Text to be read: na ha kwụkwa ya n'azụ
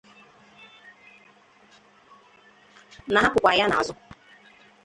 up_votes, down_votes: 0, 2